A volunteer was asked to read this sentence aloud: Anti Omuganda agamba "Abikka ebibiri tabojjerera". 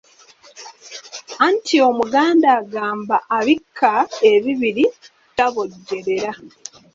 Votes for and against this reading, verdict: 3, 1, accepted